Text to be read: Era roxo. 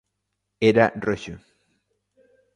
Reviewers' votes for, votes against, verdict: 2, 0, accepted